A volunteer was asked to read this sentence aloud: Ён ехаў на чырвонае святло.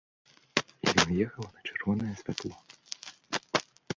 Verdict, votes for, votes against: rejected, 1, 3